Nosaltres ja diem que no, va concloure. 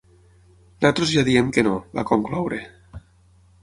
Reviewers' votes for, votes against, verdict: 0, 6, rejected